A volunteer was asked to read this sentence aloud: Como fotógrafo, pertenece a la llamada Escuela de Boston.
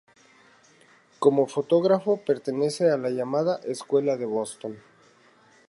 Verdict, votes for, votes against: accepted, 2, 0